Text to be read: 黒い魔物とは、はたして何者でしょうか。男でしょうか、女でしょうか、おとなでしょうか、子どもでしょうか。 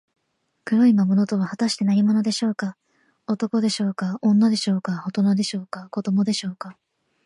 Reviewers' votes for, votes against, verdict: 3, 0, accepted